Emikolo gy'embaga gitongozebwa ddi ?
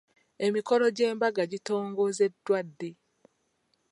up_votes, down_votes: 1, 2